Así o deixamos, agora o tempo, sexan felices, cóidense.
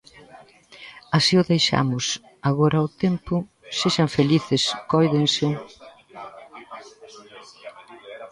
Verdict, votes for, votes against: rejected, 0, 2